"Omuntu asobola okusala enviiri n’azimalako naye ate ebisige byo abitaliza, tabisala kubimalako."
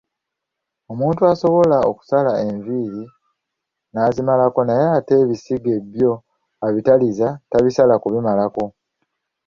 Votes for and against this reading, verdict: 1, 2, rejected